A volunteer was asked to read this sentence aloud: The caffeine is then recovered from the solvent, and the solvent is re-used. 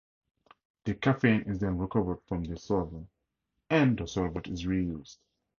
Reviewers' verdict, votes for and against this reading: accepted, 2, 0